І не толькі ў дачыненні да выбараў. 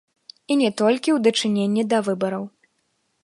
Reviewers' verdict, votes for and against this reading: rejected, 1, 2